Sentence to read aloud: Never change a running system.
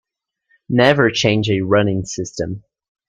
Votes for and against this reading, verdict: 2, 0, accepted